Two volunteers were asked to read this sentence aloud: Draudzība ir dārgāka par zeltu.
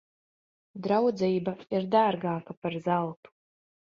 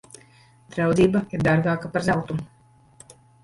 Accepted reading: first